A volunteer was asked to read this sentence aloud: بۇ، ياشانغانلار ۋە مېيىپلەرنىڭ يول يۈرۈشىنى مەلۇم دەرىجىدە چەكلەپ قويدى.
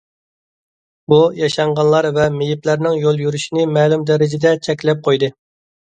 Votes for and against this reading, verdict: 2, 0, accepted